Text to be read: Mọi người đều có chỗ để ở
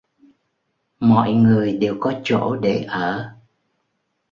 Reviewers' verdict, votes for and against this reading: accepted, 2, 0